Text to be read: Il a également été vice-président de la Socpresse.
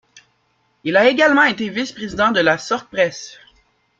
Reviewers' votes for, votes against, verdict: 0, 2, rejected